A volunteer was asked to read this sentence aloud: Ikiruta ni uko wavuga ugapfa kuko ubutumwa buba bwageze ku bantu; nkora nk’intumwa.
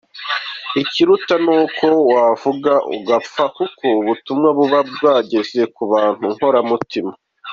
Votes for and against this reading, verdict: 0, 2, rejected